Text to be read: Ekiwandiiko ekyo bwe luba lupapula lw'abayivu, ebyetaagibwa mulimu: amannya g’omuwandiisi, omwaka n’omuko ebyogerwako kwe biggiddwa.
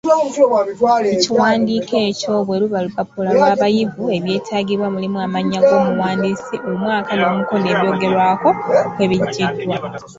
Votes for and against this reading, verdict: 2, 3, rejected